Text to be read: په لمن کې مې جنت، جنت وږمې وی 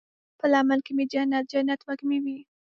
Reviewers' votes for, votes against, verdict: 1, 2, rejected